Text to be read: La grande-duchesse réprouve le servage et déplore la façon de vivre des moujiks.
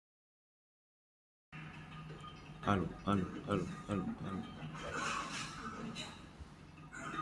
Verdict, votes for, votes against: rejected, 0, 2